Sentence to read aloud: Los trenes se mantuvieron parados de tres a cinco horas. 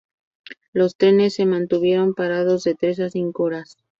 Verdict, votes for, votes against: accepted, 2, 0